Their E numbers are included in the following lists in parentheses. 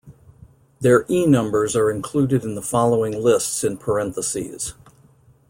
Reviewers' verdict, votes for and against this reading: accepted, 2, 0